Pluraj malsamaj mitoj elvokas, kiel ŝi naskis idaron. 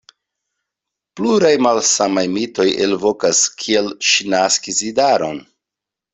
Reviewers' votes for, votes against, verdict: 2, 0, accepted